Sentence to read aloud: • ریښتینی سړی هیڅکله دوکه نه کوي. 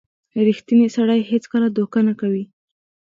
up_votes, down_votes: 3, 0